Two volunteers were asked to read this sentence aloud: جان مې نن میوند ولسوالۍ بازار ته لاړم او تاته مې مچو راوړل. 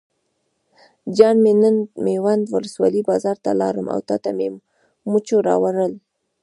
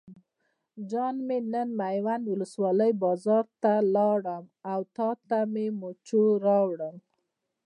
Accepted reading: first